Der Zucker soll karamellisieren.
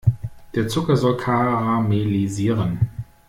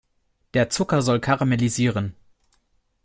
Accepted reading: second